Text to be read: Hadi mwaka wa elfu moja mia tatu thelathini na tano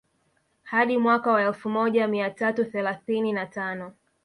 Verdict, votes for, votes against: rejected, 1, 2